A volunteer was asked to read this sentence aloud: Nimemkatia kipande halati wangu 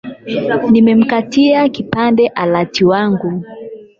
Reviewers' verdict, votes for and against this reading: rejected, 0, 8